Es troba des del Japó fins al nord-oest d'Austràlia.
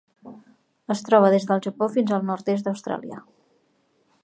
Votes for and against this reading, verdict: 0, 2, rejected